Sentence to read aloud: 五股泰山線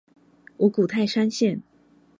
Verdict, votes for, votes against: accepted, 4, 0